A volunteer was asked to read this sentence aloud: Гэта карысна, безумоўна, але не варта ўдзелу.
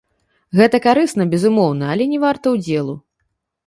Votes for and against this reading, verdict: 2, 3, rejected